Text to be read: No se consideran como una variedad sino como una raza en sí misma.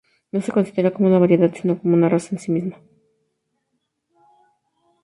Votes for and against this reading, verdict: 2, 0, accepted